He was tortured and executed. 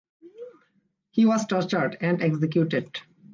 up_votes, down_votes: 2, 0